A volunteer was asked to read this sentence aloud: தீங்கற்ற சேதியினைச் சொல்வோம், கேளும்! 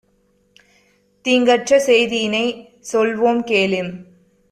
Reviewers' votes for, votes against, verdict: 1, 2, rejected